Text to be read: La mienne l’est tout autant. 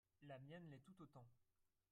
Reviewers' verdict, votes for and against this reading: rejected, 1, 3